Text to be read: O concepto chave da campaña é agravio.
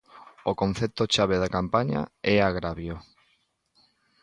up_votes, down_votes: 2, 0